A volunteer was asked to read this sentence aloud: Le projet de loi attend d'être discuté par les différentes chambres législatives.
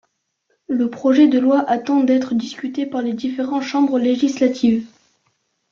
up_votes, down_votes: 0, 2